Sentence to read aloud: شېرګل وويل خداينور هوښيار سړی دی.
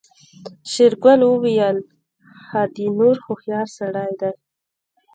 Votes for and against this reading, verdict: 1, 2, rejected